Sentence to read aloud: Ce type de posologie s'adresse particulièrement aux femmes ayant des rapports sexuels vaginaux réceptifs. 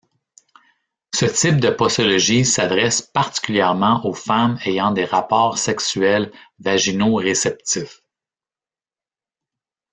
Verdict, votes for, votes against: rejected, 0, 2